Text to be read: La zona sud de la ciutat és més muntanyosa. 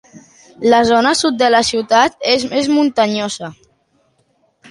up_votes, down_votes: 2, 1